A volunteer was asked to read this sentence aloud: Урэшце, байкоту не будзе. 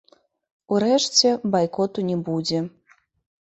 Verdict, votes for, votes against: rejected, 0, 2